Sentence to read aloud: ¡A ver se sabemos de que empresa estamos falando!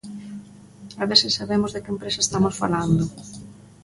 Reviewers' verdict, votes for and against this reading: accepted, 2, 0